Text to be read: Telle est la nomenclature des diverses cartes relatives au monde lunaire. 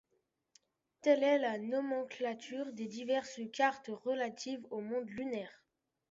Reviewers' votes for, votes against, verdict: 2, 1, accepted